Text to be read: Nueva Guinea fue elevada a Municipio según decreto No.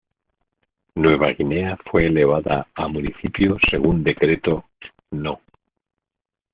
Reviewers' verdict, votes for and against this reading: accepted, 2, 0